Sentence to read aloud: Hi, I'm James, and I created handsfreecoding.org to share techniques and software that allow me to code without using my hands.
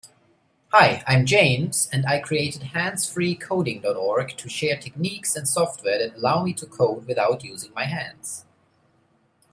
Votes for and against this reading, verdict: 3, 0, accepted